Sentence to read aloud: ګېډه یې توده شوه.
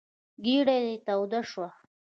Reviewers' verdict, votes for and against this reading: rejected, 0, 2